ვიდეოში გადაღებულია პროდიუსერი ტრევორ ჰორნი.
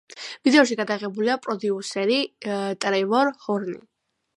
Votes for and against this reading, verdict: 2, 0, accepted